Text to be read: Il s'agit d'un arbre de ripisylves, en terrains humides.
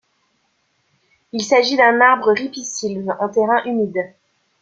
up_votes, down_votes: 0, 2